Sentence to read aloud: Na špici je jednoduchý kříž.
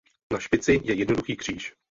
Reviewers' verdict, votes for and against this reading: accepted, 4, 0